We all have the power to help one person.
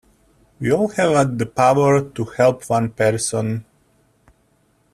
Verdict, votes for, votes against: accepted, 2, 0